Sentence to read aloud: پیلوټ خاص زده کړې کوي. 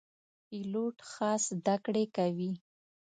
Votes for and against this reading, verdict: 2, 0, accepted